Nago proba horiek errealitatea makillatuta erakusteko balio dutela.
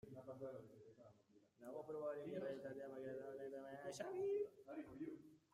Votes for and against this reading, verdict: 0, 2, rejected